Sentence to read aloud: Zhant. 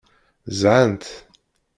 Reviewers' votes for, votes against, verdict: 0, 2, rejected